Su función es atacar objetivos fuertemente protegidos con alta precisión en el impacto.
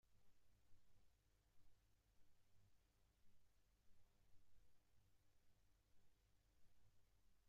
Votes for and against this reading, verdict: 0, 2, rejected